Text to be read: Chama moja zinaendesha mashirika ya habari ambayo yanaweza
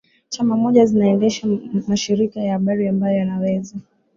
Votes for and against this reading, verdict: 3, 1, accepted